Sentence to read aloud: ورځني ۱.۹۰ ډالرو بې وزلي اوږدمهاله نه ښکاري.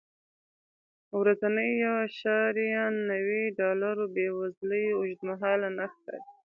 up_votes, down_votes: 0, 2